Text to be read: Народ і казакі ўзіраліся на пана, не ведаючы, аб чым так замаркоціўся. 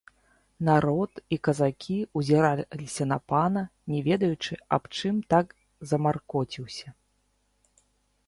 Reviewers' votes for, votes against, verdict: 1, 2, rejected